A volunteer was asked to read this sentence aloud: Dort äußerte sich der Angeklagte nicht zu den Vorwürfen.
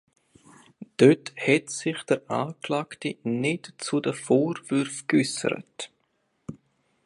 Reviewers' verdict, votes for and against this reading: rejected, 0, 2